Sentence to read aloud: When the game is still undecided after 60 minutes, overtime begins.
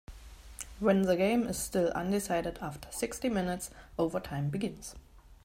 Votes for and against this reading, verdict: 0, 2, rejected